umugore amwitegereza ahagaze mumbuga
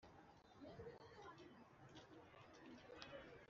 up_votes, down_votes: 0, 2